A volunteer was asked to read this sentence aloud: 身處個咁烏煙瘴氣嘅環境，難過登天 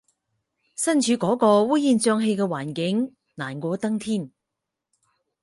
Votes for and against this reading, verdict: 0, 4, rejected